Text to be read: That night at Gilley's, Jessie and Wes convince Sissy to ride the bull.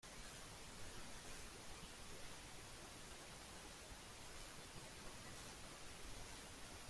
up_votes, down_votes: 0, 2